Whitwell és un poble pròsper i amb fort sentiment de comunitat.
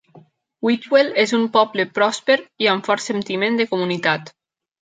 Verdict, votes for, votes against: accepted, 2, 0